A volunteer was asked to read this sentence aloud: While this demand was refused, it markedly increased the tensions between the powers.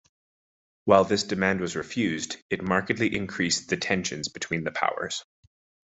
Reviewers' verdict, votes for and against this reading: accepted, 2, 0